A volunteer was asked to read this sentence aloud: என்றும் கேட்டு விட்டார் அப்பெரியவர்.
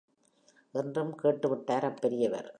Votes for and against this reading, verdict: 2, 0, accepted